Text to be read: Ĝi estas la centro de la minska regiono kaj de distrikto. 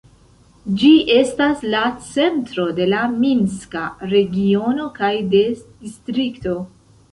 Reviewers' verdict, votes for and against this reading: accepted, 2, 0